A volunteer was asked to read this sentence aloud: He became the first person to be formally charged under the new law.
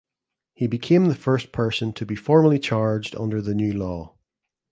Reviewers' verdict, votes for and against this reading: accepted, 2, 0